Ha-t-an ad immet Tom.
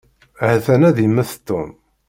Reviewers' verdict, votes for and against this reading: accepted, 2, 0